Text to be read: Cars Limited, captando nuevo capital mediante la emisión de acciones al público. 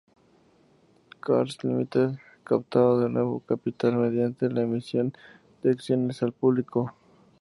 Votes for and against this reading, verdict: 0, 4, rejected